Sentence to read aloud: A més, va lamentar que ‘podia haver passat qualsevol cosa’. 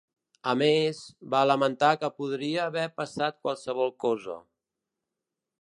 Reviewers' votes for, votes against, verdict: 1, 2, rejected